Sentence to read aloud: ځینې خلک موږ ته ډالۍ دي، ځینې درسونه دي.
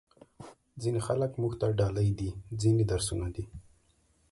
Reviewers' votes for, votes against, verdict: 2, 0, accepted